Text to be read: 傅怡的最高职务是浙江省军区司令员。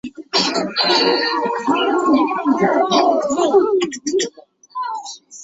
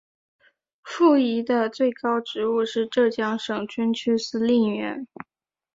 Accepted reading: second